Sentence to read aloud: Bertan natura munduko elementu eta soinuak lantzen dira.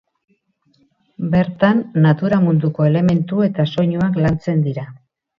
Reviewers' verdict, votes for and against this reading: accepted, 6, 0